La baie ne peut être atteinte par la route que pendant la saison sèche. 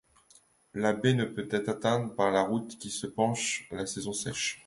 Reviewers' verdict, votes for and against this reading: rejected, 0, 2